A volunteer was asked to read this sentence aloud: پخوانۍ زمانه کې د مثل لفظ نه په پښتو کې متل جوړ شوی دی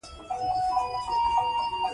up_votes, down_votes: 0, 2